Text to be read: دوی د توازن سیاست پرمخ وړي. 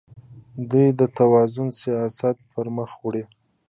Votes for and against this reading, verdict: 2, 0, accepted